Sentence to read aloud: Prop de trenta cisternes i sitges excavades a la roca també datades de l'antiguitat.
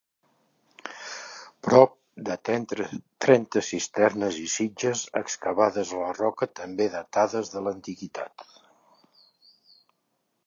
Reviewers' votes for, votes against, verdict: 0, 2, rejected